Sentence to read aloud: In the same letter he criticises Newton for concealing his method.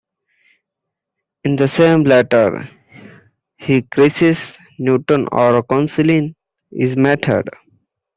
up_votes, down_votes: 0, 2